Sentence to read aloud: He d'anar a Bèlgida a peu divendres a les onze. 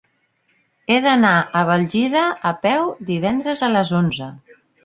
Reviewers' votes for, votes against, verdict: 0, 2, rejected